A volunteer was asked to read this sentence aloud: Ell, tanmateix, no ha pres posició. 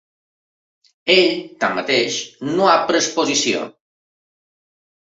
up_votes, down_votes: 2, 0